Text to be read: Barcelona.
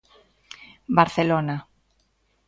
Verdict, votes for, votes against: accepted, 2, 0